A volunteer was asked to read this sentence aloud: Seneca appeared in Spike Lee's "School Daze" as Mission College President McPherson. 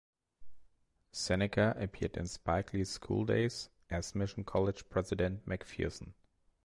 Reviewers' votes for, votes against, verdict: 2, 0, accepted